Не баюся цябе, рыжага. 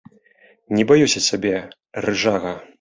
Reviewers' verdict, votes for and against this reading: rejected, 0, 2